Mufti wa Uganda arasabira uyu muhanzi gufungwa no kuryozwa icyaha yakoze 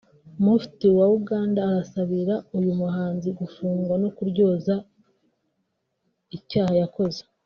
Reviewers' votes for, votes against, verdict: 1, 2, rejected